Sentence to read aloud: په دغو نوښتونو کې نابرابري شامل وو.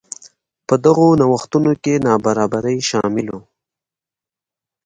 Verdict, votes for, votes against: rejected, 1, 2